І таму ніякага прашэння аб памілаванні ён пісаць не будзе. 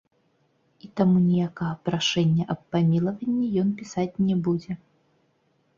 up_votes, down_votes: 1, 2